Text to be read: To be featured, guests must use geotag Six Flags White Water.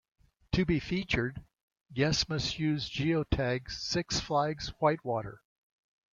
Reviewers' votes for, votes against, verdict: 2, 0, accepted